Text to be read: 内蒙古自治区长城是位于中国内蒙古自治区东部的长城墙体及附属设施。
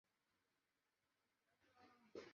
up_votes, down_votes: 1, 3